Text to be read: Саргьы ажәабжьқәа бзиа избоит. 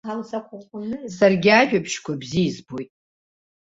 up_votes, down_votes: 0, 2